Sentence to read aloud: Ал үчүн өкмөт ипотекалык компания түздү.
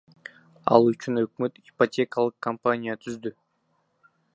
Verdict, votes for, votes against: accepted, 2, 1